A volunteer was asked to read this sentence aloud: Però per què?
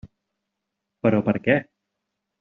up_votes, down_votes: 3, 0